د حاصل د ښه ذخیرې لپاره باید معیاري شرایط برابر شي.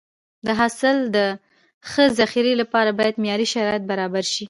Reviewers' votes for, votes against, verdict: 2, 0, accepted